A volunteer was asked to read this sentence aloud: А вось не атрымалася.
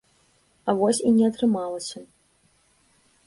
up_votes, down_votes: 1, 2